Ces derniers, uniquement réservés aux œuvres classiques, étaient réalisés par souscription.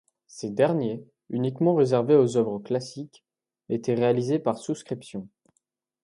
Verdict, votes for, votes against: accepted, 2, 0